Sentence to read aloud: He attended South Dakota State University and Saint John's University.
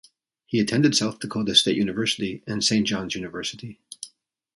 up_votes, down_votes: 2, 0